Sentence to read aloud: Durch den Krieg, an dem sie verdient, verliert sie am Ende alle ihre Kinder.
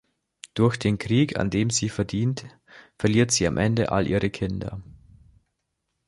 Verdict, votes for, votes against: accepted, 2, 1